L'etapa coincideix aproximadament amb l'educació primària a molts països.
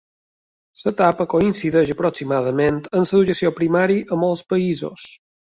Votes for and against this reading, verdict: 0, 2, rejected